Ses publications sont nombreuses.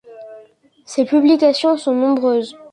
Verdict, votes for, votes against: accepted, 2, 0